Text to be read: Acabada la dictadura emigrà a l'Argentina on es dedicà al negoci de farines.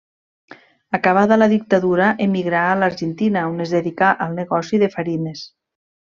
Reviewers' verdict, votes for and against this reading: accepted, 3, 0